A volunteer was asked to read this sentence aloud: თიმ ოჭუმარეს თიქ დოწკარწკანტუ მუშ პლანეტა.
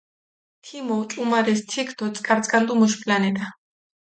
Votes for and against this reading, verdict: 2, 0, accepted